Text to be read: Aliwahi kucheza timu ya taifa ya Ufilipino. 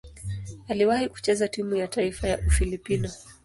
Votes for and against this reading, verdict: 2, 1, accepted